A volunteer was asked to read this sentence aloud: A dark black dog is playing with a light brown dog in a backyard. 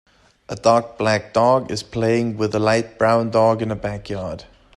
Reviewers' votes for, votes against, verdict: 2, 0, accepted